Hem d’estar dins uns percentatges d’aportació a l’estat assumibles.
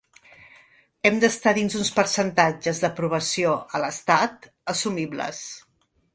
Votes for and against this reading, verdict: 1, 2, rejected